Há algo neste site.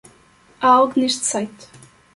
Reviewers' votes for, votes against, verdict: 2, 0, accepted